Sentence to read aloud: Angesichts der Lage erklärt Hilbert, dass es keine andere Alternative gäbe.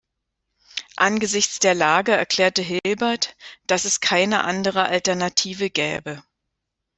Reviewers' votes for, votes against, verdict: 1, 2, rejected